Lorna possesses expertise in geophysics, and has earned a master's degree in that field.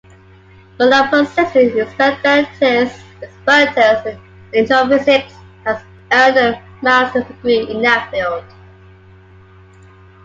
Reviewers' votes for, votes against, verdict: 0, 2, rejected